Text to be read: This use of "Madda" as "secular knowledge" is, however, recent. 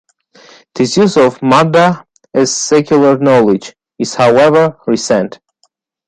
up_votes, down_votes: 2, 0